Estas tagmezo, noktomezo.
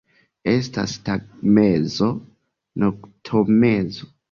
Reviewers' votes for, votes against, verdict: 1, 2, rejected